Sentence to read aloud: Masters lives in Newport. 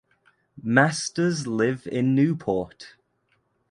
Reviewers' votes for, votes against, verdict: 0, 2, rejected